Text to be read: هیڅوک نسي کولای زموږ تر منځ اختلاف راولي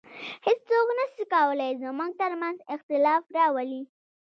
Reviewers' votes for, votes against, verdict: 2, 0, accepted